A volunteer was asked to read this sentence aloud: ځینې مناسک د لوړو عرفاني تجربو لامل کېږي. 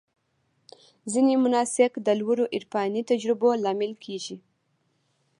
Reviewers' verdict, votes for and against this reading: rejected, 1, 2